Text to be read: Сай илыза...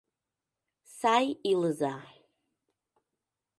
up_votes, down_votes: 2, 0